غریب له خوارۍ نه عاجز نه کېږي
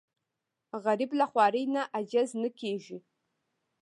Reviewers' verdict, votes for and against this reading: accepted, 2, 0